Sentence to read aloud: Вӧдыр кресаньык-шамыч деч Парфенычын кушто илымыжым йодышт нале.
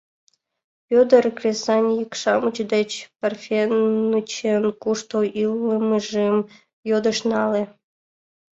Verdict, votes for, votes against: rejected, 1, 2